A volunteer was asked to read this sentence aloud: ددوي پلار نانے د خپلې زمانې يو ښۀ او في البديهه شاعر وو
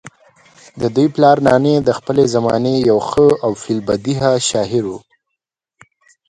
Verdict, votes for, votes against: rejected, 1, 2